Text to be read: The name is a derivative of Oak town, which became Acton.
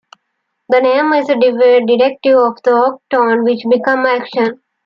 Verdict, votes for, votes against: accepted, 2, 1